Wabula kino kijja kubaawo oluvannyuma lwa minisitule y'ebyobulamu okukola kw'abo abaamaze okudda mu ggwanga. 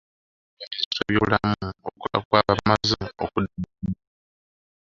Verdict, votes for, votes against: rejected, 0, 3